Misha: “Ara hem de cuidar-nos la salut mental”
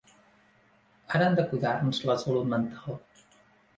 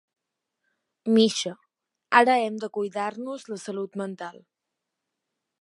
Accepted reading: second